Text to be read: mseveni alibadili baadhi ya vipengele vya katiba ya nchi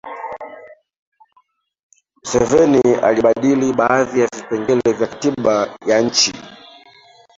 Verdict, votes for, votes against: rejected, 1, 3